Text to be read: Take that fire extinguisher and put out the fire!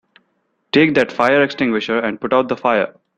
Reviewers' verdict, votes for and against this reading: accepted, 2, 0